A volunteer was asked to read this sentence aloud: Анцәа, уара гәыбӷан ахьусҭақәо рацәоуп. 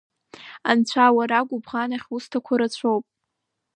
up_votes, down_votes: 2, 0